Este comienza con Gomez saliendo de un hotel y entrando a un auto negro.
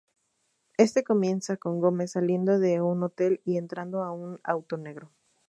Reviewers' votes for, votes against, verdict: 4, 0, accepted